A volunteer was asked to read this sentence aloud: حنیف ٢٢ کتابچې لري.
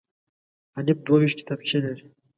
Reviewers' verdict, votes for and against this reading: rejected, 0, 2